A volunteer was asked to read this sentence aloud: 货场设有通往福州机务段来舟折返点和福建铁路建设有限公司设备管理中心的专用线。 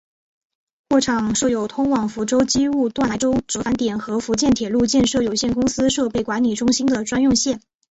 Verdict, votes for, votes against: accepted, 3, 1